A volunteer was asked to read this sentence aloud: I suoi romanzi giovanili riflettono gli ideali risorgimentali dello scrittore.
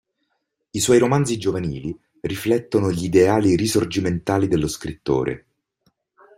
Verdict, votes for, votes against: accepted, 2, 0